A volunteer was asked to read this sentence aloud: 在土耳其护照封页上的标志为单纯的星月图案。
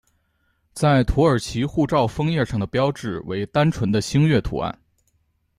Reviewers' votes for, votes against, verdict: 2, 0, accepted